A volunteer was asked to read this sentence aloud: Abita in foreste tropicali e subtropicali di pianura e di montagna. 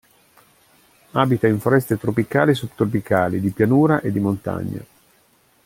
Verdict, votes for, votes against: accepted, 2, 0